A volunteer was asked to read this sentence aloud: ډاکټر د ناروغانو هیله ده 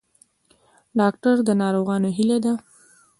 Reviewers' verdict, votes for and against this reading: rejected, 0, 2